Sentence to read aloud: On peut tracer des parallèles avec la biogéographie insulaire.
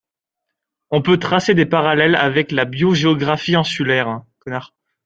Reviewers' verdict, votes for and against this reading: accepted, 2, 1